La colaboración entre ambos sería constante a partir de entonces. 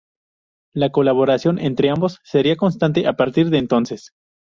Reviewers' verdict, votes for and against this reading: rejected, 0, 2